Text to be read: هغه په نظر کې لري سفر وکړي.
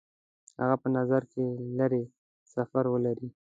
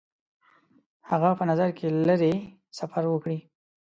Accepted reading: second